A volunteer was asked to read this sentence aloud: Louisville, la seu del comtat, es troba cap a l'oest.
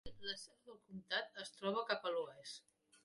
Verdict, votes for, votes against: rejected, 0, 2